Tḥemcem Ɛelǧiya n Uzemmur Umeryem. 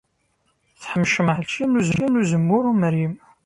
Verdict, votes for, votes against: rejected, 0, 2